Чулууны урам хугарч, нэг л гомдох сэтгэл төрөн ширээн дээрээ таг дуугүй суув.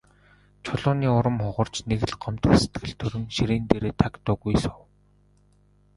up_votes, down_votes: 0, 2